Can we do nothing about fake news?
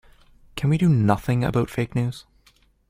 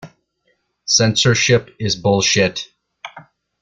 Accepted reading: first